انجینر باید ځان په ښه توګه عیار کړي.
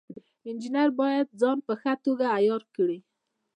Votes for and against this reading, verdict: 0, 2, rejected